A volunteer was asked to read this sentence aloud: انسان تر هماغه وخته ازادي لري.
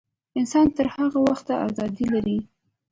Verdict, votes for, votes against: rejected, 1, 2